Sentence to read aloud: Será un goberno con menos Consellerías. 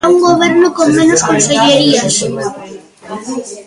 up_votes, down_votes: 1, 2